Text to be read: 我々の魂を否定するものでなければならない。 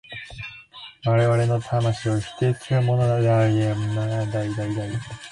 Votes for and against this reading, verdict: 0, 2, rejected